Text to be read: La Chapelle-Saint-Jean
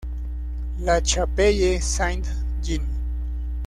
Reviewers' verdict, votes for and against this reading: rejected, 0, 2